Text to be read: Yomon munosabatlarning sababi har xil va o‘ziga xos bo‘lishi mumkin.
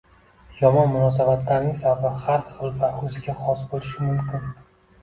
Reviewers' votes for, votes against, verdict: 0, 2, rejected